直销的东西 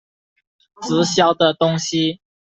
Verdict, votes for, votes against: accepted, 2, 0